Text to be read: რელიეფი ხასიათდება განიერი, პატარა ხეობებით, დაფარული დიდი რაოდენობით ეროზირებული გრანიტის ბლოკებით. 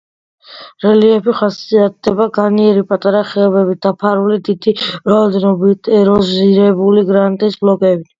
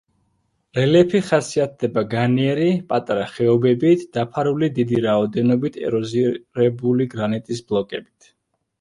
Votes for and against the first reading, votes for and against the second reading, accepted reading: 2, 0, 0, 2, first